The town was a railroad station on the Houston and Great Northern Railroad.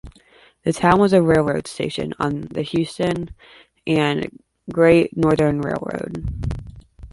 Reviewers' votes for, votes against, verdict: 1, 2, rejected